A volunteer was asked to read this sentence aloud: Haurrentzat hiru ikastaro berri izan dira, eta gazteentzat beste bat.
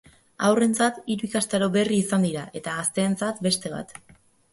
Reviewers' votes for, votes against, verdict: 2, 0, accepted